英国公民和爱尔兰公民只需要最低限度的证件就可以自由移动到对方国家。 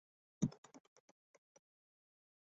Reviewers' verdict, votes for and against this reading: rejected, 0, 4